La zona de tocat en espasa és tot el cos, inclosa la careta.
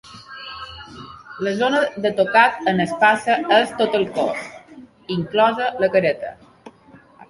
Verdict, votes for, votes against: accepted, 2, 1